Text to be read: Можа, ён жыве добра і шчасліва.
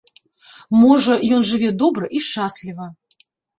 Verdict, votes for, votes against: rejected, 1, 2